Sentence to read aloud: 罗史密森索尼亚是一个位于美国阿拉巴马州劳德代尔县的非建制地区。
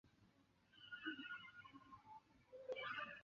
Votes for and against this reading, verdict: 0, 3, rejected